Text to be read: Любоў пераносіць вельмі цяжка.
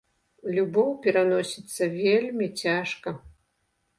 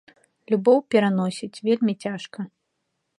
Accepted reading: second